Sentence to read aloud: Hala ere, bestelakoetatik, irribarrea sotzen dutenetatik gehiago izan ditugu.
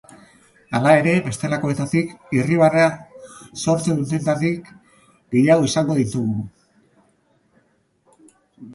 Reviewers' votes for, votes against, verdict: 1, 2, rejected